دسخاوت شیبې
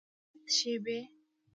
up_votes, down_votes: 0, 2